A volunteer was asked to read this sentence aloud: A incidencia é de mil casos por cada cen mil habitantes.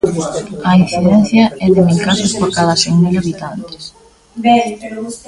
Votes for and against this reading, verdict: 1, 2, rejected